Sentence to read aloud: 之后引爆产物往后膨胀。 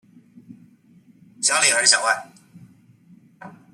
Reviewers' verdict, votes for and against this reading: rejected, 0, 2